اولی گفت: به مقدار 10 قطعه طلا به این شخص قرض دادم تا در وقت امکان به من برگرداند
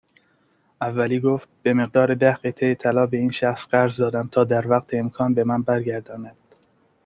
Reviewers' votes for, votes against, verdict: 0, 2, rejected